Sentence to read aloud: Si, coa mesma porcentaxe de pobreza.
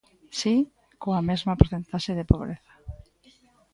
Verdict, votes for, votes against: rejected, 1, 2